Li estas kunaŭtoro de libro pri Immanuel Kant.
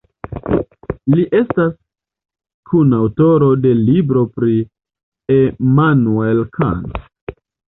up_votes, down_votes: 2, 1